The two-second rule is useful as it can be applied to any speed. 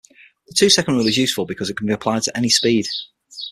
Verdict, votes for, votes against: rejected, 0, 6